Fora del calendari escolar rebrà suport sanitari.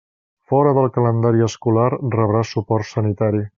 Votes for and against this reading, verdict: 3, 0, accepted